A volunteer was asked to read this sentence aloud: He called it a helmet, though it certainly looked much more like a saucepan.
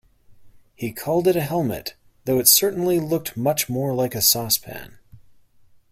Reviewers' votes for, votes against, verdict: 2, 1, accepted